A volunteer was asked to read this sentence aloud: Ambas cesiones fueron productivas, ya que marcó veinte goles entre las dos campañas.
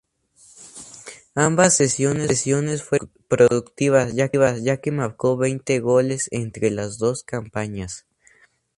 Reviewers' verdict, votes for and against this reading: rejected, 0, 2